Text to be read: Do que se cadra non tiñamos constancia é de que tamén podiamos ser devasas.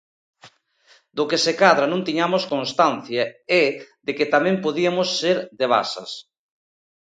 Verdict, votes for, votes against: rejected, 0, 2